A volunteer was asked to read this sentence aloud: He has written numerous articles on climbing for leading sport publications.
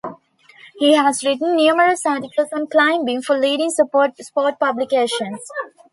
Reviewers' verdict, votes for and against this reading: rejected, 0, 2